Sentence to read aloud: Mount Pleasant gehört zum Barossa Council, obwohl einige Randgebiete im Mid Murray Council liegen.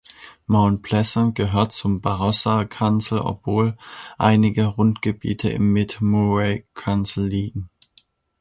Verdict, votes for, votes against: rejected, 1, 2